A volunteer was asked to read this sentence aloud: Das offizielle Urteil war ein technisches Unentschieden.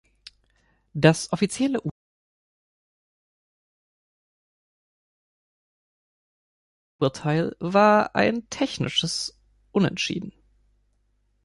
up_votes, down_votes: 0, 2